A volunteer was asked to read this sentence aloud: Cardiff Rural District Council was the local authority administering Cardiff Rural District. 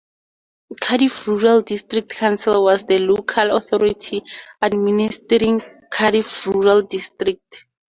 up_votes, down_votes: 4, 0